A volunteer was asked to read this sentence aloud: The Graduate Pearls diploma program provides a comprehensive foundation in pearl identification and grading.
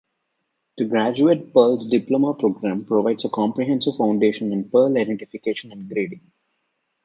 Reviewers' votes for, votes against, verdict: 2, 0, accepted